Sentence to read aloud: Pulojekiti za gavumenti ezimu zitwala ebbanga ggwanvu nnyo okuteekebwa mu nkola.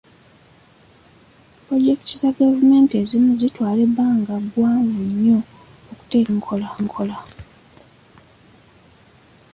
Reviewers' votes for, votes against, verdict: 2, 1, accepted